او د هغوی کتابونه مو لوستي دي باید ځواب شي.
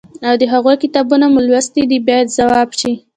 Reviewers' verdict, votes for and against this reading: rejected, 1, 2